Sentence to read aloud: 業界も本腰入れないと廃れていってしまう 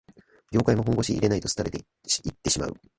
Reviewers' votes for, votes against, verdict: 2, 3, rejected